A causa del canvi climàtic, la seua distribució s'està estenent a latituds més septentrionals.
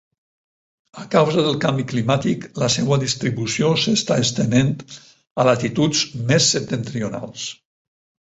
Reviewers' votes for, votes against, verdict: 10, 0, accepted